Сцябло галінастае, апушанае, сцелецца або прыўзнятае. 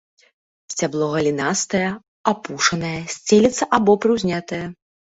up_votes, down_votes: 3, 0